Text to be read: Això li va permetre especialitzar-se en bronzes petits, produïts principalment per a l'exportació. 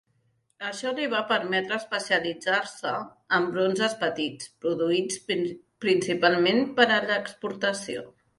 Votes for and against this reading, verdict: 1, 2, rejected